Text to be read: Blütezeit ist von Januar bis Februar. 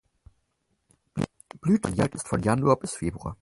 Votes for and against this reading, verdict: 2, 6, rejected